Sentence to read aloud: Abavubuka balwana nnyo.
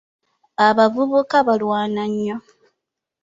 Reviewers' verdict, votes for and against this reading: accepted, 2, 0